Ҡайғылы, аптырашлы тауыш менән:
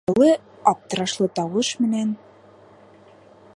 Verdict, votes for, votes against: rejected, 3, 4